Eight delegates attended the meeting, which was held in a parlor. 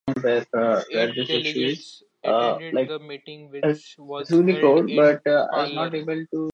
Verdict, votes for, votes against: rejected, 0, 2